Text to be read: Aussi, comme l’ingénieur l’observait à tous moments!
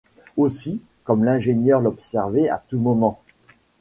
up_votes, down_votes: 2, 0